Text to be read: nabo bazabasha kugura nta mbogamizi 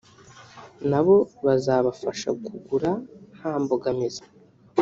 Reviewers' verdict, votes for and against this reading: rejected, 1, 3